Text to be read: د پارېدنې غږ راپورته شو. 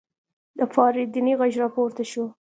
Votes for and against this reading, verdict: 2, 1, accepted